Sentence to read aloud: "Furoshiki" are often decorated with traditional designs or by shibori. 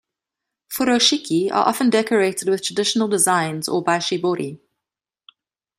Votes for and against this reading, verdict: 2, 0, accepted